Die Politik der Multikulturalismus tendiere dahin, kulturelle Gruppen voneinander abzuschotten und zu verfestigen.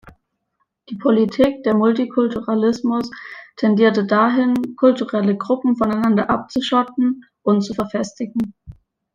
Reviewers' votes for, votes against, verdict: 0, 2, rejected